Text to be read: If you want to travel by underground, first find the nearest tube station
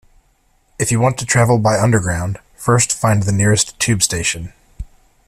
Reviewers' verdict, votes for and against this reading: accepted, 2, 0